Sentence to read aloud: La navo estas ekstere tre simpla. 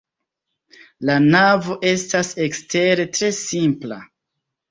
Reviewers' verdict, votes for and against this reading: rejected, 2, 3